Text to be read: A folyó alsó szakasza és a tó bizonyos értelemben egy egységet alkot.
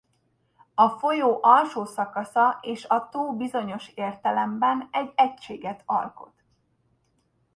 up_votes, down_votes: 2, 0